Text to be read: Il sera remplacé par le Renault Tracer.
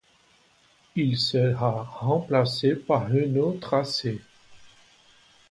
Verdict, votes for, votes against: rejected, 1, 2